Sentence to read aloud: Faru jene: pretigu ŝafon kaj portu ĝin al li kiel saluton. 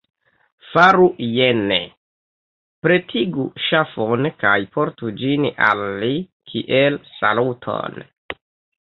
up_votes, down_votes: 2, 0